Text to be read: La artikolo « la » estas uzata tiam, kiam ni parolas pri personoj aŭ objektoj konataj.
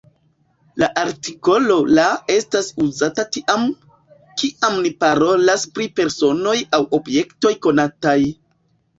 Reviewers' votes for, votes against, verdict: 2, 0, accepted